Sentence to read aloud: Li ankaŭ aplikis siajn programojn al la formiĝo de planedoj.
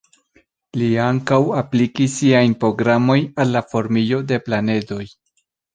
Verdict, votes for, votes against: accepted, 2, 1